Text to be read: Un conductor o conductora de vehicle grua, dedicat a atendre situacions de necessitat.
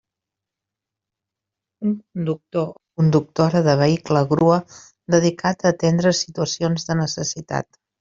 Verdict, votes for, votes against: rejected, 0, 2